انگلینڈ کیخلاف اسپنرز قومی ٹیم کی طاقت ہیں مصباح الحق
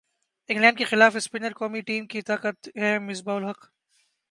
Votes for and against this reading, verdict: 2, 1, accepted